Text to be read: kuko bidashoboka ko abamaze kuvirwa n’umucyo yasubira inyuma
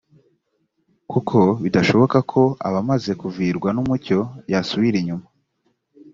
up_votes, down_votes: 2, 0